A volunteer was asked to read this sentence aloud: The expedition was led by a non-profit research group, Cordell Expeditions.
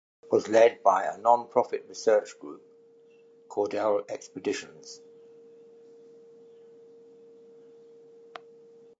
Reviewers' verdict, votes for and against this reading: rejected, 0, 2